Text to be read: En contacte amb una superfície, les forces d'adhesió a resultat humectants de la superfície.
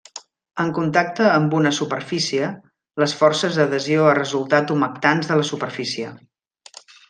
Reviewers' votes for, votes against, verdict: 2, 0, accepted